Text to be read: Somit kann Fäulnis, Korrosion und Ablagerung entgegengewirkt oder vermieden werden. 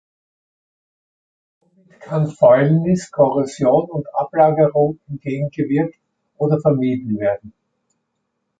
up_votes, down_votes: 1, 2